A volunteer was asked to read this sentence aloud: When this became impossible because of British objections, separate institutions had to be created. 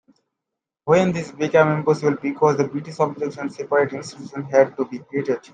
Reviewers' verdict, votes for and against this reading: accepted, 2, 1